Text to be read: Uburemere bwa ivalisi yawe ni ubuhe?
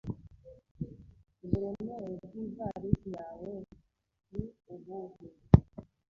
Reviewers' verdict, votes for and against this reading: rejected, 1, 2